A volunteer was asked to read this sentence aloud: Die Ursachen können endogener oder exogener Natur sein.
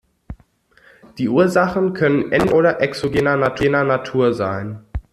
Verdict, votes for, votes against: rejected, 0, 2